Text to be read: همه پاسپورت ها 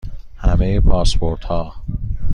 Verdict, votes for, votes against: accepted, 2, 0